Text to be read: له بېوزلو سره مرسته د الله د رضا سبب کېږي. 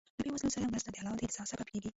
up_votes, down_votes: 0, 2